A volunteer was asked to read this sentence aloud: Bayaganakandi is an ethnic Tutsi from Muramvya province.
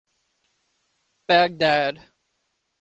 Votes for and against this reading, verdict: 0, 2, rejected